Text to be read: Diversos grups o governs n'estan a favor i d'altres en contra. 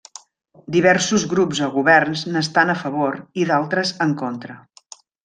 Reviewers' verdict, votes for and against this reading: accepted, 2, 0